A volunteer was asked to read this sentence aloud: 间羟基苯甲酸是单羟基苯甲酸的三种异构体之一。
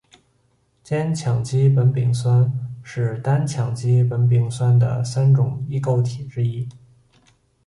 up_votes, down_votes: 2, 1